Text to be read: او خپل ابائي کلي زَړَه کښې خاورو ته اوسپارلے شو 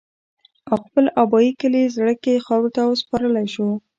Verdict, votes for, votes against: accepted, 2, 0